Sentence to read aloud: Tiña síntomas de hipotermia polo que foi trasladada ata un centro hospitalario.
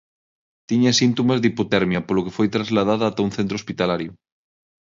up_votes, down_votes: 6, 0